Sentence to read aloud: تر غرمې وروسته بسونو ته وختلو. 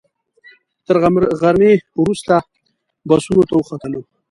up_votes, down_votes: 1, 2